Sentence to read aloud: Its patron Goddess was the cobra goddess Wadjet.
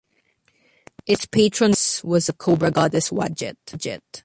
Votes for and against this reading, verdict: 0, 2, rejected